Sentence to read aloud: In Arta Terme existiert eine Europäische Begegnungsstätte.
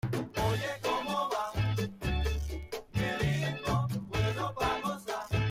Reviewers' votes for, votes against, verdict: 0, 2, rejected